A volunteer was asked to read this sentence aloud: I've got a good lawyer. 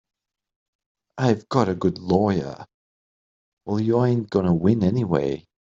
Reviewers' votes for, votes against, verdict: 0, 3, rejected